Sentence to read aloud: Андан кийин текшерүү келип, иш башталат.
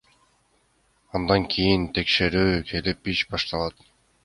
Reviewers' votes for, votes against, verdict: 2, 1, accepted